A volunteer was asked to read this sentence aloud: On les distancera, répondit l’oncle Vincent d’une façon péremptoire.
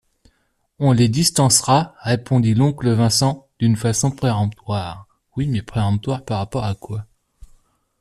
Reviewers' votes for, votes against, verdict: 1, 2, rejected